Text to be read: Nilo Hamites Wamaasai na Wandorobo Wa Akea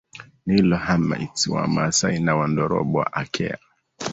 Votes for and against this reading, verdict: 2, 1, accepted